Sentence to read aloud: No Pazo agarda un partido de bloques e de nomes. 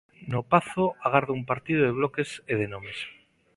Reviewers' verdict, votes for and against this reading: accepted, 2, 0